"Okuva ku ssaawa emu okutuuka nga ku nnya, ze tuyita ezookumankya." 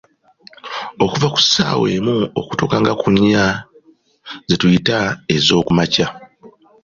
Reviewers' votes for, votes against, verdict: 2, 0, accepted